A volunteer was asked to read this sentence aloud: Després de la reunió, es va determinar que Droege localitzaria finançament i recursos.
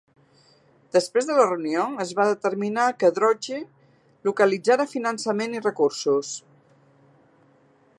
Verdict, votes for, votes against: rejected, 1, 4